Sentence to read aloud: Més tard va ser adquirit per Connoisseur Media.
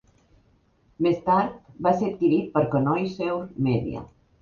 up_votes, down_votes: 3, 0